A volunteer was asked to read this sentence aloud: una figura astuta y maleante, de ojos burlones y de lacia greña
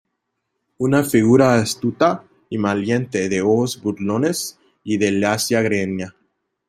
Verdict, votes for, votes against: rejected, 0, 2